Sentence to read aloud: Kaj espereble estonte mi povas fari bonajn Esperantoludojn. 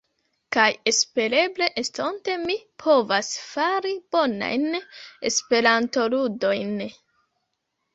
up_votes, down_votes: 3, 2